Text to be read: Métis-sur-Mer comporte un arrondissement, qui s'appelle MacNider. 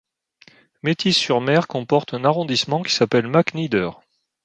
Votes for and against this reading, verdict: 2, 0, accepted